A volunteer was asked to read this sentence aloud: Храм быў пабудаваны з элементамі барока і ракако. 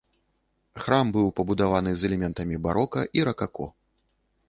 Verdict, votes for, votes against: rejected, 1, 2